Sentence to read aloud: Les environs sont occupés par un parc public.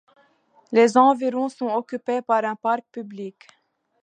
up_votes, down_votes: 2, 0